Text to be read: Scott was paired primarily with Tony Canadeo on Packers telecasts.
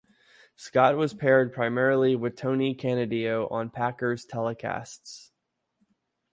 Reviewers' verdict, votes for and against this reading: accepted, 2, 0